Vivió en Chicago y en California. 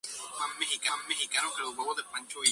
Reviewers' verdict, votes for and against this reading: rejected, 0, 2